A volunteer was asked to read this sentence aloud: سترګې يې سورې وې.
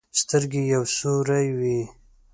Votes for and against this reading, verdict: 2, 3, rejected